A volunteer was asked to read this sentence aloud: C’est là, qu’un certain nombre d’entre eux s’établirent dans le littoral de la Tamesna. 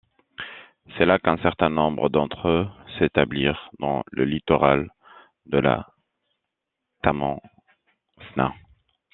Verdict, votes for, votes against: rejected, 1, 2